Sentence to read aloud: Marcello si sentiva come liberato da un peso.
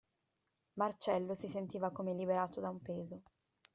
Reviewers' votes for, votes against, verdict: 2, 0, accepted